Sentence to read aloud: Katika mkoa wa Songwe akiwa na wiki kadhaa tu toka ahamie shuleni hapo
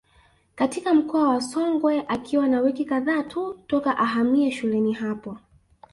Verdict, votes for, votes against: accepted, 3, 0